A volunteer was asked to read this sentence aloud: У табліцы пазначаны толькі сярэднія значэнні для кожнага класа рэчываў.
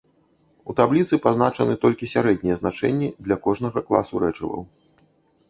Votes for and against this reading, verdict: 1, 2, rejected